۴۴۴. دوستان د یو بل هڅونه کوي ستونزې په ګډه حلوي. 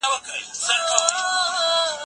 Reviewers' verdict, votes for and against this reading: rejected, 0, 2